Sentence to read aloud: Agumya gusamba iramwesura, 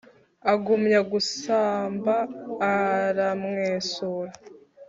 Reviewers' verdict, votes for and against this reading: rejected, 0, 2